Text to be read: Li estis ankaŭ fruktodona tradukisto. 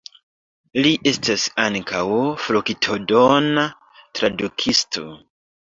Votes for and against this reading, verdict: 0, 2, rejected